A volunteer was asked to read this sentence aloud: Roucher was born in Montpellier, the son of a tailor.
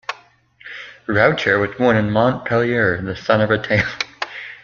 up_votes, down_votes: 1, 2